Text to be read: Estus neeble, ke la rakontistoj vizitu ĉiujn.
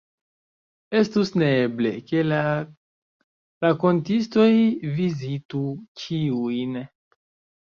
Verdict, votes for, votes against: rejected, 0, 2